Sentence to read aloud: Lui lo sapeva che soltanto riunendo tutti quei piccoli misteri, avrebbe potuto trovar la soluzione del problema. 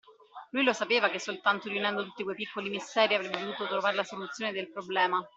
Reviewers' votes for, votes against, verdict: 1, 2, rejected